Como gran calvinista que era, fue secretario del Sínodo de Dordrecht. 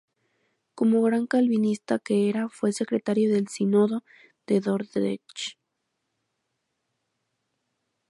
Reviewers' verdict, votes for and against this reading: accepted, 2, 0